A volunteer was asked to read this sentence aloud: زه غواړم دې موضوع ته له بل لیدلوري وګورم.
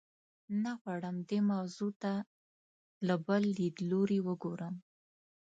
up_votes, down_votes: 1, 2